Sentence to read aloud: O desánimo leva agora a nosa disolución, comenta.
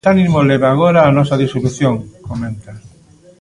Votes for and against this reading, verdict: 0, 2, rejected